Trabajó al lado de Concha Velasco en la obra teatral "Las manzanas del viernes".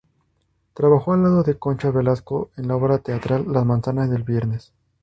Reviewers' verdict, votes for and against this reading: accepted, 2, 0